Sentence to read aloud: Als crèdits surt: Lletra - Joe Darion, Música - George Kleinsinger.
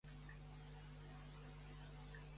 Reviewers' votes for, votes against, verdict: 0, 2, rejected